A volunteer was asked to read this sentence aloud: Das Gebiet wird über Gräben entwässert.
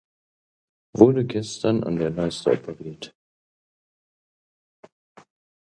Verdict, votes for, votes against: rejected, 0, 2